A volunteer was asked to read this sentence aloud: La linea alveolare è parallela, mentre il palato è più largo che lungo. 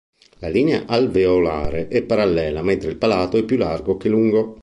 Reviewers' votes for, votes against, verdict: 2, 0, accepted